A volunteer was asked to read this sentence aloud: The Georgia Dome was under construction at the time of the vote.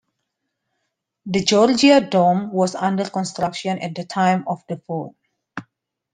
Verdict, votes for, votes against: accepted, 2, 1